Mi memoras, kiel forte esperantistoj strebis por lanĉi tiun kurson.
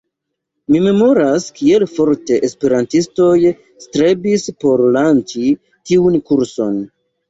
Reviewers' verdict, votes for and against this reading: rejected, 1, 2